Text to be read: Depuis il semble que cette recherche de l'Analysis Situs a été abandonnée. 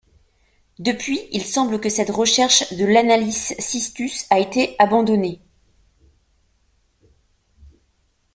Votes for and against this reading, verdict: 0, 2, rejected